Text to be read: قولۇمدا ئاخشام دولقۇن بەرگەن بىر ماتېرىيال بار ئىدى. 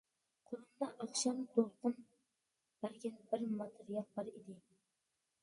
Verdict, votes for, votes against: accepted, 2, 1